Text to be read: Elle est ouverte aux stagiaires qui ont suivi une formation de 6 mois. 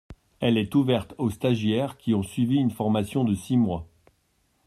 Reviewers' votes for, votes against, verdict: 0, 2, rejected